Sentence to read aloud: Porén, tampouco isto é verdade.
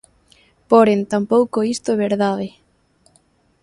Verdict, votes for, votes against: rejected, 0, 2